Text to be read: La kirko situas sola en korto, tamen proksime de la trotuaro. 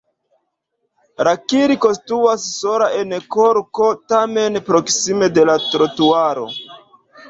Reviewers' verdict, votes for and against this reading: rejected, 1, 2